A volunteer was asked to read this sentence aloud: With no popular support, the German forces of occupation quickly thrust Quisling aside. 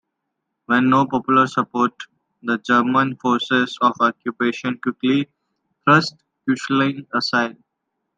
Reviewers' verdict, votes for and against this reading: rejected, 1, 2